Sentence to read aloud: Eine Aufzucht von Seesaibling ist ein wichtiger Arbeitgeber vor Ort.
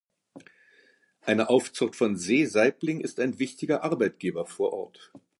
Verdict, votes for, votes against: accepted, 2, 0